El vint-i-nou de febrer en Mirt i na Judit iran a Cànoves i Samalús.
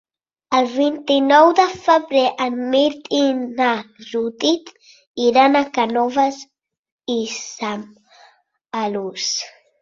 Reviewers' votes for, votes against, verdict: 0, 4, rejected